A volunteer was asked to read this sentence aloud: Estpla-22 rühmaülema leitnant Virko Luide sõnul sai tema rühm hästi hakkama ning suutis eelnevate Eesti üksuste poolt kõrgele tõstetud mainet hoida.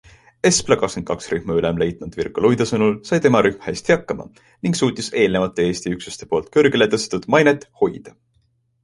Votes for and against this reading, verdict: 0, 2, rejected